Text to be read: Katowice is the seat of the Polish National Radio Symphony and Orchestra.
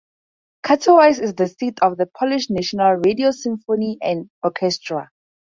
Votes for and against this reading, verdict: 4, 0, accepted